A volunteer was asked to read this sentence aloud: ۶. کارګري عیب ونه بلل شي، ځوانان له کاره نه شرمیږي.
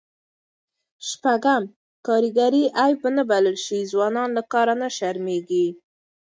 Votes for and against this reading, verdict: 0, 2, rejected